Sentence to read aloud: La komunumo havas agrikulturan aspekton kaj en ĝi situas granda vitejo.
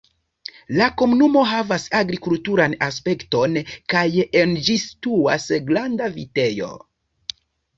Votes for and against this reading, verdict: 2, 0, accepted